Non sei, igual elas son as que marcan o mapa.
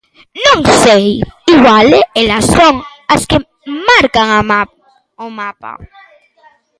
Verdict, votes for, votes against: rejected, 0, 2